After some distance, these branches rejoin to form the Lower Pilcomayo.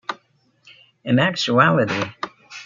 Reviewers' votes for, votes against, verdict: 0, 2, rejected